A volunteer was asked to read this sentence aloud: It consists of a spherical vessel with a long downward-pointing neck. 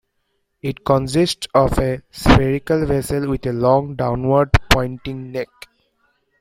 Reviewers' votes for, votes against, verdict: 1, 2, rejected